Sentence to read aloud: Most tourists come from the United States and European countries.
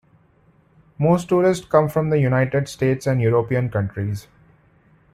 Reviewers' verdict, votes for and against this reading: rejected, 1, 2